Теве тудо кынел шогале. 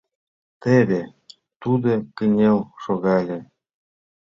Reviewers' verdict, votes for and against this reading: accepted, 2, 0